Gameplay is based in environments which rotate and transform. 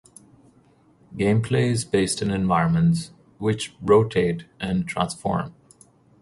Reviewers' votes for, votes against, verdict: 2, 0, accepted